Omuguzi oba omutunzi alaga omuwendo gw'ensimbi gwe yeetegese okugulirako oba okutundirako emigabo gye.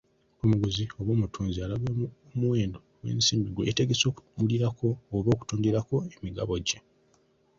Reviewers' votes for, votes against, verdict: 2, 1, accepted